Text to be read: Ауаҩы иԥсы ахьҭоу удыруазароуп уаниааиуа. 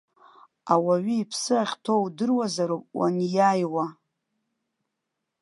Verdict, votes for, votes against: accepted, 3, 0